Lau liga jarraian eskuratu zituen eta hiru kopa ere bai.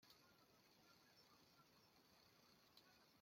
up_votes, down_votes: 0, 2